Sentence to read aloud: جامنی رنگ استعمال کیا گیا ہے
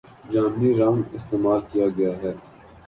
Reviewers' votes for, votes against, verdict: 14, 0, accepted